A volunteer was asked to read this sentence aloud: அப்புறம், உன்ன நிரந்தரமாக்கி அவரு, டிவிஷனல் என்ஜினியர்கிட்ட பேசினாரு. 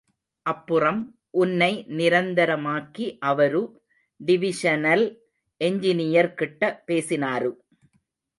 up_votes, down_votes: 1, 2